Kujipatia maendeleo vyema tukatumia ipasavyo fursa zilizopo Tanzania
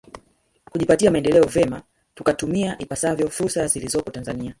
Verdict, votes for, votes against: accepted, 2, 0